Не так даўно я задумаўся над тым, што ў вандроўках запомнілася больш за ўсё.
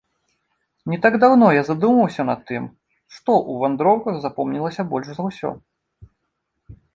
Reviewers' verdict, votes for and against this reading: accepted, 2, 0